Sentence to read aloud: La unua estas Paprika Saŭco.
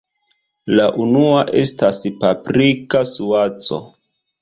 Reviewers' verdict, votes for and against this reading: rejected, 0, 2